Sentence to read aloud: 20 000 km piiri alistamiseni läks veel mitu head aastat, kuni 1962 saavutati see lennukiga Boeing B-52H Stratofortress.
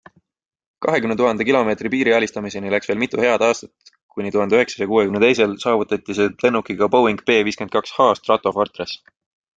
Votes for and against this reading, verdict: 0, 2, rejected